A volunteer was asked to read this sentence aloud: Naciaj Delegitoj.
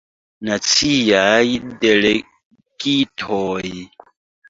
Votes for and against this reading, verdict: 2, 1, accepted